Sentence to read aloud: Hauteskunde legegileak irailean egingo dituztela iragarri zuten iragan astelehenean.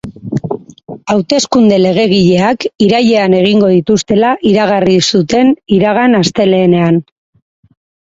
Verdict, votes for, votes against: rejected, 2, 2